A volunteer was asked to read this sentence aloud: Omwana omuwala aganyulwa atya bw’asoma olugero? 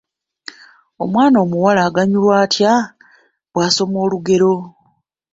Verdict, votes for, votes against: accepted, 2, 0